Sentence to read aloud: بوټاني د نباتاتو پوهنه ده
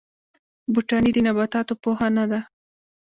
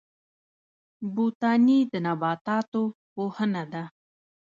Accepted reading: second